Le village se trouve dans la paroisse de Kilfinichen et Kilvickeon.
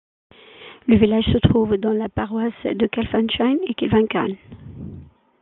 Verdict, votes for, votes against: accepted, 2, 1